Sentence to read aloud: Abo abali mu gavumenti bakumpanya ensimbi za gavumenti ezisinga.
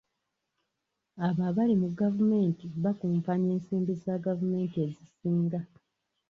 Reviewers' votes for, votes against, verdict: 2, 0, accepted